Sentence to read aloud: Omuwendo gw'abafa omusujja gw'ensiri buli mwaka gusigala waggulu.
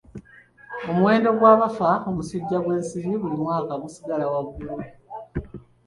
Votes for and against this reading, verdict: 2, 1, accepted